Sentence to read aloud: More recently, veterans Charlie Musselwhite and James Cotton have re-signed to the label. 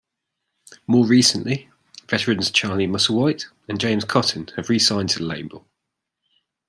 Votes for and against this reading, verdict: 2, 1, accepted